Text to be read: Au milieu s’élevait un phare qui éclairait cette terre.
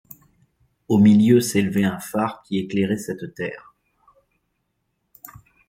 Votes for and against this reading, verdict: 2, 0, accepted